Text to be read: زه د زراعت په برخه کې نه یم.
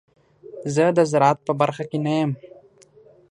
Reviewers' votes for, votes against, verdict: 6, 0, accepted